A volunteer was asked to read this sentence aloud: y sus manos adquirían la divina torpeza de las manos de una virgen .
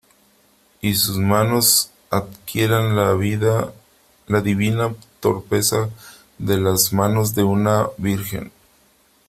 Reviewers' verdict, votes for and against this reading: rejected, 0, 3